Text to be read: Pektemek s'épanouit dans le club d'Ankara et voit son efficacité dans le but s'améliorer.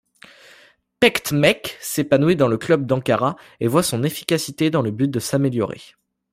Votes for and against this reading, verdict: 1, 3, rejected